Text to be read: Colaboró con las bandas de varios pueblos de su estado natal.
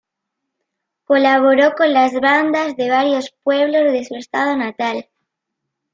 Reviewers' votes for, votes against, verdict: 2, 0, accepted